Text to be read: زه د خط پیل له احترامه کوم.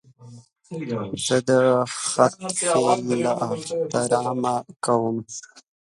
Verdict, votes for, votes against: rejected, 1, 2